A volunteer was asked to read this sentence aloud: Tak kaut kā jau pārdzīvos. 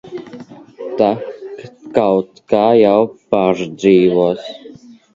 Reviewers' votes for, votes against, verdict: 0, 2, rejected